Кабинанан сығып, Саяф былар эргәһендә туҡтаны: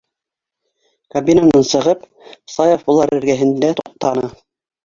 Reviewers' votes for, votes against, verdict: 1, 2, rejected